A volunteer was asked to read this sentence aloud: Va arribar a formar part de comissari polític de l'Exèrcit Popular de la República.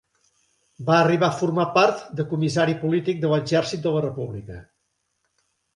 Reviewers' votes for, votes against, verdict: 0, 2, rejected